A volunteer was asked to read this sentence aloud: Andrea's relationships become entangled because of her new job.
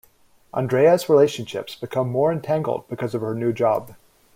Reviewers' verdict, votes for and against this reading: rejected, 1, 2